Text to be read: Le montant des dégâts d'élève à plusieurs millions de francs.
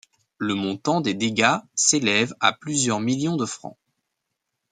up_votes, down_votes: 1, 2